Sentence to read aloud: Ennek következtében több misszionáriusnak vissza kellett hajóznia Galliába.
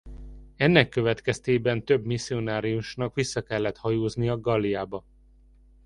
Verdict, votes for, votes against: accepted, 2, 0